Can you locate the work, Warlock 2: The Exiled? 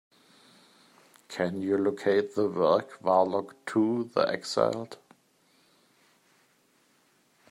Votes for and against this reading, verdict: 0, 2, rejected